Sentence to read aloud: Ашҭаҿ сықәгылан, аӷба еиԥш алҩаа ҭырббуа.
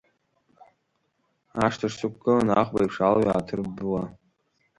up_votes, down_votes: 1, 2